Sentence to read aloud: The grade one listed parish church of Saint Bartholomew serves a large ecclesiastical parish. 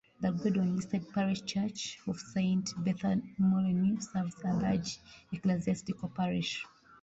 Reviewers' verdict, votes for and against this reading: rejected, 1, 2